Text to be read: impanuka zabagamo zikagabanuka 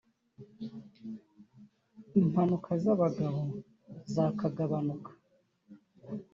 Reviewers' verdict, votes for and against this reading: rejected, 2, 3